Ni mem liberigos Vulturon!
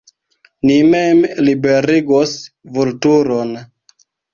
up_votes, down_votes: 2, 1